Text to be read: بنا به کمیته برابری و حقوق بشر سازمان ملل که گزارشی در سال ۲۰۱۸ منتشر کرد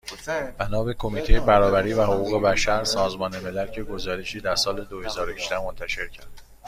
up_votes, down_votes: 0, 2